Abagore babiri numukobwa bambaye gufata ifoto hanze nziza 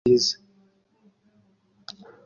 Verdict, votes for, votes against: rejected, 0, 2